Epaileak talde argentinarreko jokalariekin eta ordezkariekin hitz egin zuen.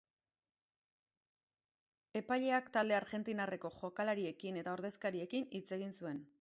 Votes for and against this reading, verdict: 2, 0, accepted